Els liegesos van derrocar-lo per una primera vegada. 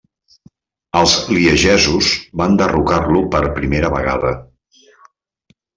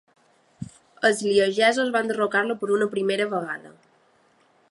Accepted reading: second